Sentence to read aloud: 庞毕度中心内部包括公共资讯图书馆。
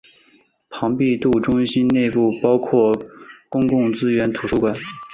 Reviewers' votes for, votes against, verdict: 0, 2, rejected